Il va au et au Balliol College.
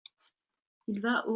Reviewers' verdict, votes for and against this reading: rejected, 0, 2